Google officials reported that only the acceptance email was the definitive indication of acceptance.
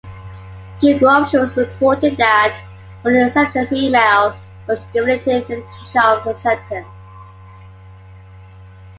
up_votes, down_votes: 0, 2